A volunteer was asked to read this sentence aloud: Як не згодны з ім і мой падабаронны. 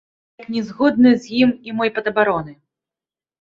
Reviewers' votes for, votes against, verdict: 0, 2, rejected